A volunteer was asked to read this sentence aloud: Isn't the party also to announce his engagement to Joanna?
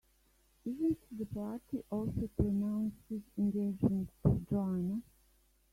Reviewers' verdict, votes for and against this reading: rejected, 0, 2